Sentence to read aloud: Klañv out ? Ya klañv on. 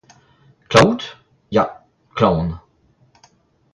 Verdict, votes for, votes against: accepted, 2, 0